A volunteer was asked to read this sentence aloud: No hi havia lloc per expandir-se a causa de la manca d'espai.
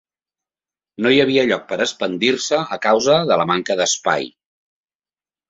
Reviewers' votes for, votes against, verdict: 3, 0, accepted